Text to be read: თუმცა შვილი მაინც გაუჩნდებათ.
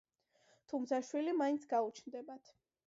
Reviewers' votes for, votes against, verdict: 2, 1, accepted